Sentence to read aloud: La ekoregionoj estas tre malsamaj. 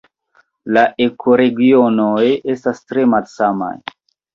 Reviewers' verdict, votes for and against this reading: accepted, 2, 1